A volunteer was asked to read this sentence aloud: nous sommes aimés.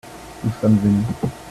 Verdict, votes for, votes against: rejected, 1, 2